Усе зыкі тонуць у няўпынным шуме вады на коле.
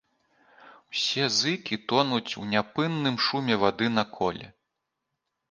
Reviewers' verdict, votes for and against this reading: rejected, 1, 3